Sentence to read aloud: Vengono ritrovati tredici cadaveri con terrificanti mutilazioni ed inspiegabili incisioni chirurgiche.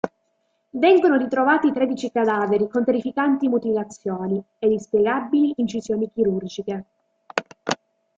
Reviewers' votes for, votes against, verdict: 3, 0, accepted